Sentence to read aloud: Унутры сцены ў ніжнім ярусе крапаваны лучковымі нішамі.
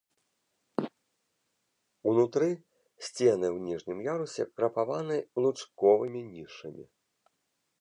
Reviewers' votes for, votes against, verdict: 2, 0, accepted